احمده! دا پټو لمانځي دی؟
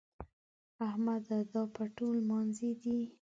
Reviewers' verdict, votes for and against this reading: rejected, 1, 2